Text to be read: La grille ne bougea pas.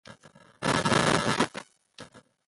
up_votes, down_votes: 0, 2